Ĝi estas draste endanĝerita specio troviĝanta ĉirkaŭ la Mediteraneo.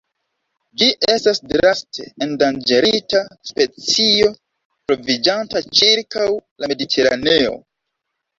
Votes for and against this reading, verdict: 2, 0, accepted